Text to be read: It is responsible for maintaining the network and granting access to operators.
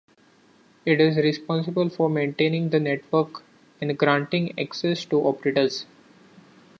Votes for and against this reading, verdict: 2, 1, accepted